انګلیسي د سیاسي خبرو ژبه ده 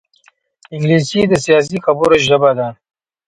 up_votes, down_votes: 2, 1